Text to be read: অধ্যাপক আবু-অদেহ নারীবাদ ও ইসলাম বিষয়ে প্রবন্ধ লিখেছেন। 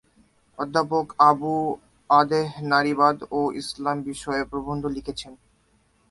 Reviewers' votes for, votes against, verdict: 2, 0, accepted